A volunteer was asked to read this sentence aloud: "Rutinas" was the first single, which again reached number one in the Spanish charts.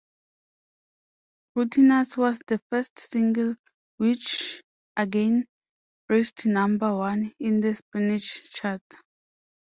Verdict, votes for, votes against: rejected, 0, 2